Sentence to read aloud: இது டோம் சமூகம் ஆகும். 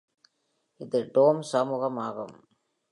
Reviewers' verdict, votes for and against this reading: accepted, 2, 0